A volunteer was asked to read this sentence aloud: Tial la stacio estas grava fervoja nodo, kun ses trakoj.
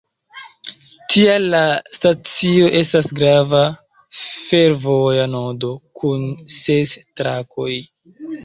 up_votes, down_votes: 1, 2